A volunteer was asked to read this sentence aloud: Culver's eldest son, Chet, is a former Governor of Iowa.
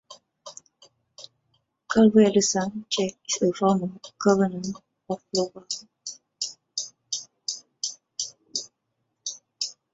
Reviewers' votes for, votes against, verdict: 0, 2, rejected